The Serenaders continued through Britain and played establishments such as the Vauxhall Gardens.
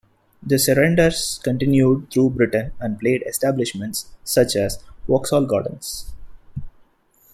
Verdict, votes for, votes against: rejected, 0, 2